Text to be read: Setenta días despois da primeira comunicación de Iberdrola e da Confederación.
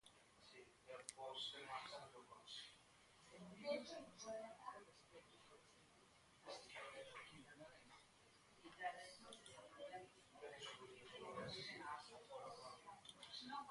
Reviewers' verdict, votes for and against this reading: rejected, 0, 2